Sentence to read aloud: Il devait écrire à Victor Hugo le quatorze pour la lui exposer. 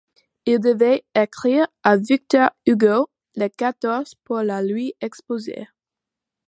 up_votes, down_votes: 2, 0